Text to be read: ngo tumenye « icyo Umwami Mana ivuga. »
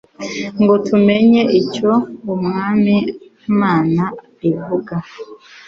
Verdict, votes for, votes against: accepted, 2, 0